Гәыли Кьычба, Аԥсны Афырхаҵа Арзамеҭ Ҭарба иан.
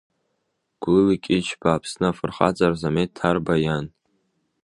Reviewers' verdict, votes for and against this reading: accepted, 2, 0